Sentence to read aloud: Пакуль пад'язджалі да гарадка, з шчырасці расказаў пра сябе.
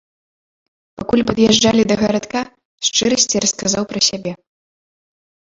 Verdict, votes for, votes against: rejected, 0, 2